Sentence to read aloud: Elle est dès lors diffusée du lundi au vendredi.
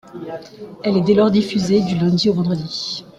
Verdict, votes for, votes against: accepted, 2, 0